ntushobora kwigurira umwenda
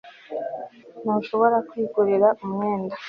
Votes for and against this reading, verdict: 2, 0, accepted